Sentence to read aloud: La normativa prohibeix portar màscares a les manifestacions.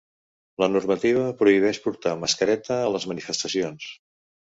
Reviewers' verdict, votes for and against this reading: rejected, 0, 2